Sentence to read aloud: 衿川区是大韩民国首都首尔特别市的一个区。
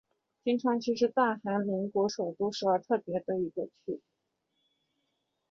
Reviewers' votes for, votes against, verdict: 5, 0, accepted